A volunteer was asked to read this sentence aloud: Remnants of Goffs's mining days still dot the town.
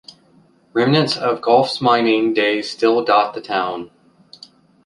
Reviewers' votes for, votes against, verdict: 2, 0, accepted